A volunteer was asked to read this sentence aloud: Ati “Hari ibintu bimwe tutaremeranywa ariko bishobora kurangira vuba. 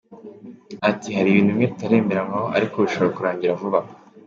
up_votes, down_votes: 2, 0